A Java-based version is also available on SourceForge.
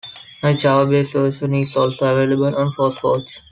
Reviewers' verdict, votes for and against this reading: accepted, 2, 0